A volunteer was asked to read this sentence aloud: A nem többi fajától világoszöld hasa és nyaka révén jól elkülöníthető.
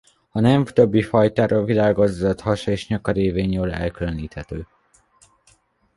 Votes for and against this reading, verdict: 0, 2, rejected